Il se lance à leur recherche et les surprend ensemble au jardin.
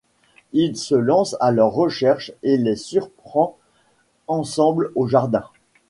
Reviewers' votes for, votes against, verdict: 2, 0, accepted